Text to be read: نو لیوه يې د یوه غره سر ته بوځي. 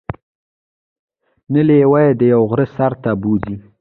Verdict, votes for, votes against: accepted, 2, 1